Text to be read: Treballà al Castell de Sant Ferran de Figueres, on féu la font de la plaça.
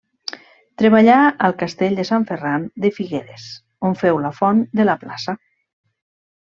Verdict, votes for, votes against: accepted, 3, 0